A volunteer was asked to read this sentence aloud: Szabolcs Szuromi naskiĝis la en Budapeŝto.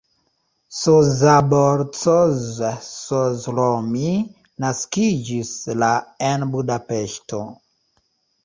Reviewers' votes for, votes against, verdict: 0, 2, rejected